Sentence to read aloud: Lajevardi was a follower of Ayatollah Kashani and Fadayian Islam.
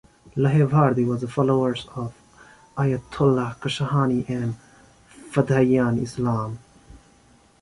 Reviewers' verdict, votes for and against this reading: rejected, 1, 2